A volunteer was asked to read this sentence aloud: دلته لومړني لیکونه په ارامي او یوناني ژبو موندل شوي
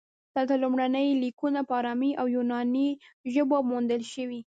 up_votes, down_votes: 0, 2